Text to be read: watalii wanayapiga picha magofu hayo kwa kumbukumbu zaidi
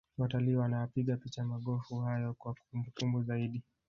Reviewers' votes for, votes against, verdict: 0, 2, rejected